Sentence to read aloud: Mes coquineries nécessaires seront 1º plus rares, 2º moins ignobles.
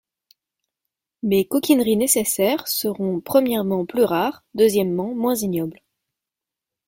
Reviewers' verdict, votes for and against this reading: rejected, 0, 2